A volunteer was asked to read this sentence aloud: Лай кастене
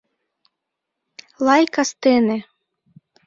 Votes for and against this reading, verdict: 2, 0, accepted